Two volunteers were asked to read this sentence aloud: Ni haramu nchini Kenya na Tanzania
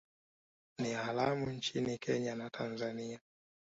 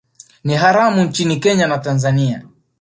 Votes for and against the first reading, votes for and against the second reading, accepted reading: 2, 0, 1, 2, first